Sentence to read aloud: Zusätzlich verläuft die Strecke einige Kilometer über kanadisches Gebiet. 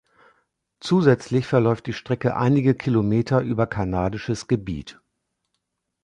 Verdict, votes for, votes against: accepted, 2, 0